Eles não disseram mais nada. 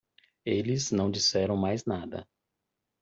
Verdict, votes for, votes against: accepted, 2, 0